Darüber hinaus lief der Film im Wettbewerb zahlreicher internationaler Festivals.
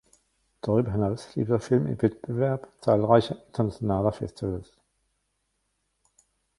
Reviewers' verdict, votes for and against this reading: rejected, 1, 2